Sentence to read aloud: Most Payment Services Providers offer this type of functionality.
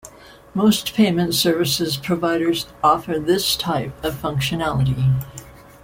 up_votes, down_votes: 1, 2